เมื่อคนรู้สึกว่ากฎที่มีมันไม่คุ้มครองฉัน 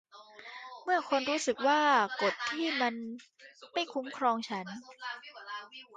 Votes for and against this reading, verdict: 0, 2, rejected